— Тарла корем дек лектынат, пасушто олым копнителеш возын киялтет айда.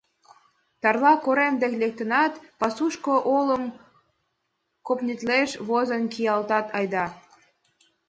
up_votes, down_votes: 0, 2